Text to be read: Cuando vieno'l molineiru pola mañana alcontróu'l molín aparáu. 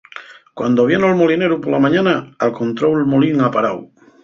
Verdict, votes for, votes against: rejected, 2, 2